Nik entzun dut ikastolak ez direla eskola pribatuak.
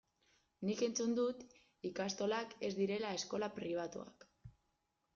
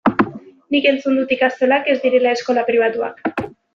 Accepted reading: second